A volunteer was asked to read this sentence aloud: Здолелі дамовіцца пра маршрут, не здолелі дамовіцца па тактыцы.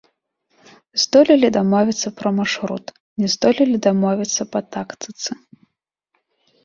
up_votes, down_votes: 2, 0